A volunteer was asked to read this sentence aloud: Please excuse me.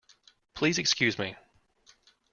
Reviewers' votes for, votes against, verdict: 2, 0, accepted